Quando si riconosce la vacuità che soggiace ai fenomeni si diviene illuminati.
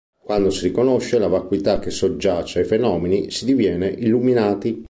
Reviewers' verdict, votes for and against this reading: rejected, 0, 2